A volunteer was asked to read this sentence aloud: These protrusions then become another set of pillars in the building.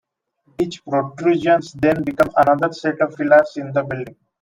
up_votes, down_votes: 0, 2